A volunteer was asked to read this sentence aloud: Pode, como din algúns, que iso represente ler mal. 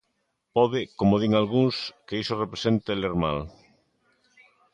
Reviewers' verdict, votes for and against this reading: accepted, 2, 0